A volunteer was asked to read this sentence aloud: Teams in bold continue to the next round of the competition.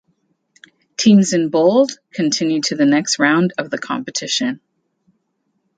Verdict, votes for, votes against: accepted, 2, 0